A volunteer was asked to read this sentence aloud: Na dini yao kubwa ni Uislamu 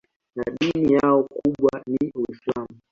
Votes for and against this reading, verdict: 2, 1, accepted